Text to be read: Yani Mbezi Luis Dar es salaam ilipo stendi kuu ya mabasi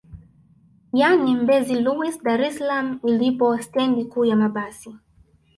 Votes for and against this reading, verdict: 0, 2, rejected